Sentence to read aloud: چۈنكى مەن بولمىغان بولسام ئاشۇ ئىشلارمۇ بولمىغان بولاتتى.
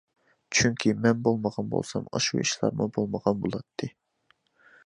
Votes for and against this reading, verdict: 2, 0, accepted